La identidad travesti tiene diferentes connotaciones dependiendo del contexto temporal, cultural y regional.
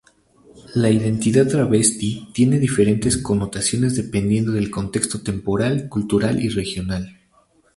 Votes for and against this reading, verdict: 2, 0, accepted